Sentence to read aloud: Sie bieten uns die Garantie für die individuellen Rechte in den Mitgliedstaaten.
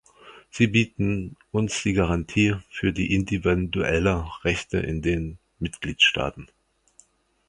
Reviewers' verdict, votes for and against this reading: rejected, 0, 2